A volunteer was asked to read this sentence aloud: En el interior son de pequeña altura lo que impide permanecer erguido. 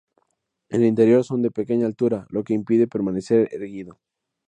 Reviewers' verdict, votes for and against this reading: accepted, 2, 0